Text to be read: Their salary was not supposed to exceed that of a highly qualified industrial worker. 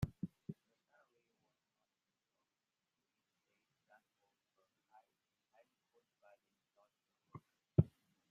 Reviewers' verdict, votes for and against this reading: rejected, 0, 2